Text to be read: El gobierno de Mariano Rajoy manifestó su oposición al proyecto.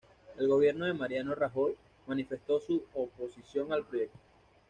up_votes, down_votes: 2, 0